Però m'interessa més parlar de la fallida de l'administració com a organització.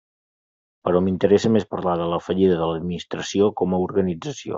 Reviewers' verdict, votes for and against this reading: accepted, 3, 0